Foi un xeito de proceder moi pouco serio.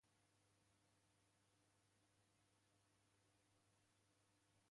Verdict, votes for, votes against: rejected, 0, 2